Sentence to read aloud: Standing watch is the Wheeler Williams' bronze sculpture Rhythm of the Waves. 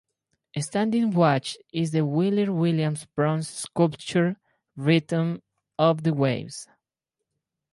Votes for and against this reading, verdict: 4, 0, accepted